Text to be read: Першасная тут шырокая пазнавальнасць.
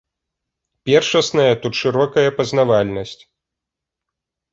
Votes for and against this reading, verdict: 3, 0, accepted